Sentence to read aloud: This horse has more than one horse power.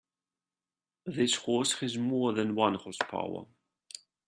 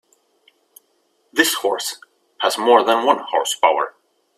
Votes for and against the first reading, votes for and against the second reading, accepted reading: 1, 2, 2, 0, second